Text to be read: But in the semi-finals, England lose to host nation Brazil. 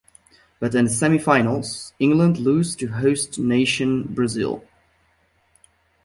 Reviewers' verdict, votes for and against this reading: accepted, 2, 0